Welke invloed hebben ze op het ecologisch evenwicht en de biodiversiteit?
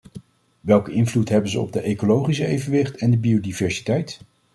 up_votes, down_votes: 1, 2